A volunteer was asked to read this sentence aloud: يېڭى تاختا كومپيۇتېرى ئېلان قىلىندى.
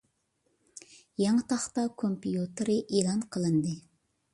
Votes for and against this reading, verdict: 2, 0, accepted